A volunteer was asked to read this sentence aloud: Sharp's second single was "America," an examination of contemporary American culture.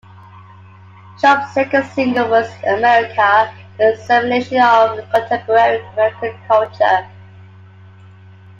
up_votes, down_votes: 0, 2